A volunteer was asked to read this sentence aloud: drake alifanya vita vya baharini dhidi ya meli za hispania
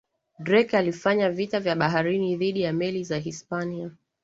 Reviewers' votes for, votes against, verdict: 2, 0, accepted